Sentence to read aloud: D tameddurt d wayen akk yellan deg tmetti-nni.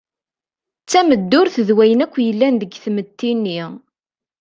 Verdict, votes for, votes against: accepted, 2, 0